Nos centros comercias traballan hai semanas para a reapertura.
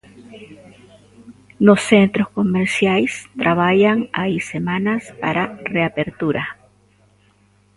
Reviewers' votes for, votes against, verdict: 0, 2, rejected